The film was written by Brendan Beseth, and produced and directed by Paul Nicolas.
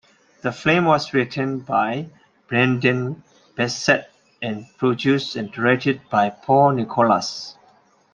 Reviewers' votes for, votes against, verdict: 2, 0, accepted